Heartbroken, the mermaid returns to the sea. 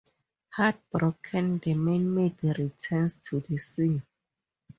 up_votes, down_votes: 2, 2